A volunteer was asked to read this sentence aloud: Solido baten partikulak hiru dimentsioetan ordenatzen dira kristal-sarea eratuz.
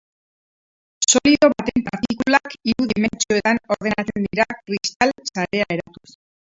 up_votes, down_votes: 0, 4